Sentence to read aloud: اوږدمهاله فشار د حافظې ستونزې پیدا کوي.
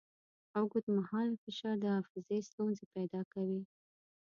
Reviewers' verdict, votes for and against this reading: accepted, 2, 0